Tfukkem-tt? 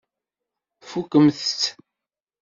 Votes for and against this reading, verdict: 1, 2, rejected